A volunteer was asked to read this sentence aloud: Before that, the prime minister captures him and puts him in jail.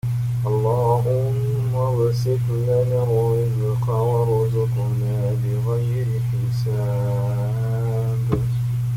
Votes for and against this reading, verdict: 0, 2, rejected